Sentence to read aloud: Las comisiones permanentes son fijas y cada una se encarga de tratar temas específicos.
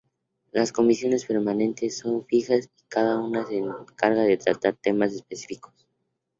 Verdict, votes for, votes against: accepted, 2, 0